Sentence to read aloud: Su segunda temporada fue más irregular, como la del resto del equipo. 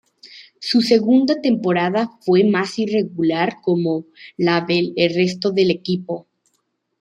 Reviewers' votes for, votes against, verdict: 2, 0, accepted